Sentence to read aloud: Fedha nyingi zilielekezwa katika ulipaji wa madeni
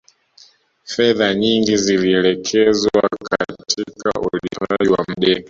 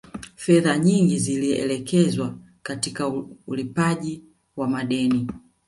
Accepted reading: second